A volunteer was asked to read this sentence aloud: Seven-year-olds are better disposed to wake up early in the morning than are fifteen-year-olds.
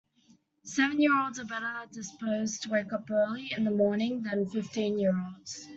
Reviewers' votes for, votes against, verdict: 1, 2, rejected